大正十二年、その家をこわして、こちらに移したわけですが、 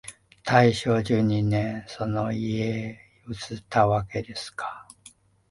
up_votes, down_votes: 0, 3